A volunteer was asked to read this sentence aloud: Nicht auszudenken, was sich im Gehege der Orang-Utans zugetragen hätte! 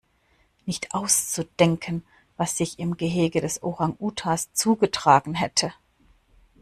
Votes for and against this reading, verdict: 1, 2, rejected